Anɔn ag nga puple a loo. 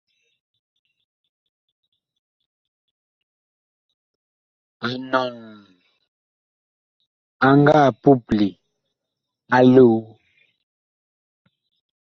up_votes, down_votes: 2, 1